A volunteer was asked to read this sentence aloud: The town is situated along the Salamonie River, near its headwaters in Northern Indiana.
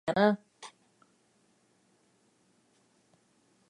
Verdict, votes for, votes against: rejected, 0, 2